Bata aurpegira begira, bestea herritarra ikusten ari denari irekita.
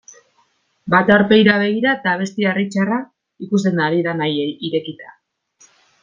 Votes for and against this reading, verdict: 1, 2, rejected